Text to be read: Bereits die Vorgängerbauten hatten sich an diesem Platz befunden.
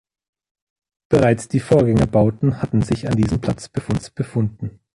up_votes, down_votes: 0, 2